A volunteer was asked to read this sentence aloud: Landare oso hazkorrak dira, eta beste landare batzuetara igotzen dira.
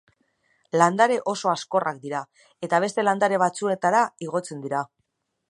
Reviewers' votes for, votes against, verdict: 2, 0, accepted